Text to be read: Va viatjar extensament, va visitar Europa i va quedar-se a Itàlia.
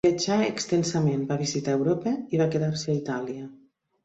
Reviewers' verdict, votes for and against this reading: rejected, 0, 2